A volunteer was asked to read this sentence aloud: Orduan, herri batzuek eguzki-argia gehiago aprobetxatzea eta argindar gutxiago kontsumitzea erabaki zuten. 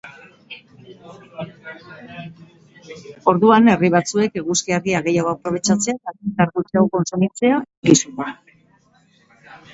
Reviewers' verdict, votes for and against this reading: rejected, 0, 2